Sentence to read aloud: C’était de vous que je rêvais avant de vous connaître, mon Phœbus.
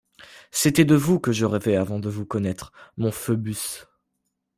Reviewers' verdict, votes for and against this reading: accepted, 2, 0